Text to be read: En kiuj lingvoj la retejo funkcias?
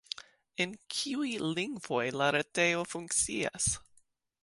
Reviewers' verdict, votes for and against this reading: accepted, 2, 1